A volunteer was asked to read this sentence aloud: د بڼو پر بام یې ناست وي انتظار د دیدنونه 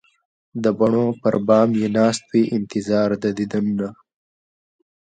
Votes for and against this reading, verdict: 2, 0, accepted